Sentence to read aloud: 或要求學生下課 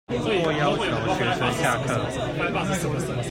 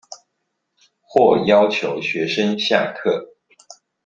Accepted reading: second